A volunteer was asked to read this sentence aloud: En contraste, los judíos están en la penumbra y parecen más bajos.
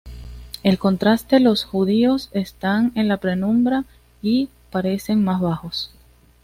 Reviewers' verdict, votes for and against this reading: accepted, 2, 0